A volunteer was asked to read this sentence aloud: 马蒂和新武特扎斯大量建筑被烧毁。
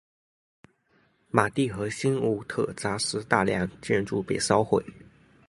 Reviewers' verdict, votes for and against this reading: accepted, 3, 0